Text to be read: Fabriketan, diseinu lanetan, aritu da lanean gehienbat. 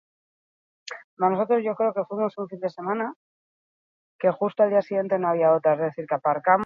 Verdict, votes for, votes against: rejected, 0, 6